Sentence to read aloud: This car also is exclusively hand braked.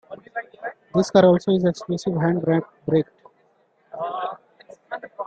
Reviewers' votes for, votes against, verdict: 0, 2, rejected